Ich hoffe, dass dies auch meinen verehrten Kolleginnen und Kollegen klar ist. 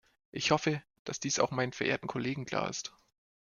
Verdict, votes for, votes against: rejected, 1, 2